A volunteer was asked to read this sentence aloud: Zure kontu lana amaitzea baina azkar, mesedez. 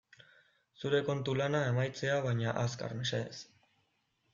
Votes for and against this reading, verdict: 2, 0, accepted